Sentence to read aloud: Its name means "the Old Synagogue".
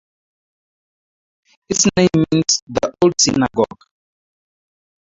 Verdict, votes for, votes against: rejected, 2, 4